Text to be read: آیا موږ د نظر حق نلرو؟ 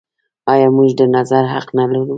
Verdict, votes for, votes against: accepted, 2, 0